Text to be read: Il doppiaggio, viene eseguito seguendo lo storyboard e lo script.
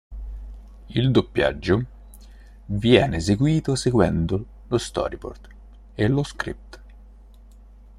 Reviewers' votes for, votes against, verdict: 2, 0, accepted